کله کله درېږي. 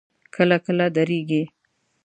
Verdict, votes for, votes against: accepted, 2, 0